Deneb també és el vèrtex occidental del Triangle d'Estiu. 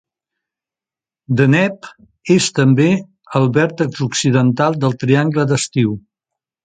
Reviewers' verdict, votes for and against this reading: rejected, 0, 2